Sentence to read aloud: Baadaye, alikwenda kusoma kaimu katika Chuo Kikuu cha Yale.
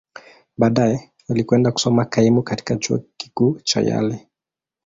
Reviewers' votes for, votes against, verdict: 5, 3, accepted